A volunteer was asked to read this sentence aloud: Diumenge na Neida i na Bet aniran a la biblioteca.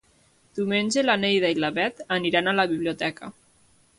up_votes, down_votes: 1, 2